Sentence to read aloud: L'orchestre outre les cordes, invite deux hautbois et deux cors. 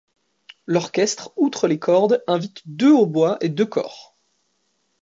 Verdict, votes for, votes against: accepted, 2, 0